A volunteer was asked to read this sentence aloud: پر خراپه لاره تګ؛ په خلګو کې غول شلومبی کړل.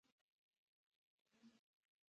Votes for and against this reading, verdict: 1, 2, rejected